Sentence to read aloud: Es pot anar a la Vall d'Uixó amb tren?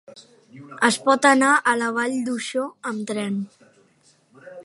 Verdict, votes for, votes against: rejected, 0, 2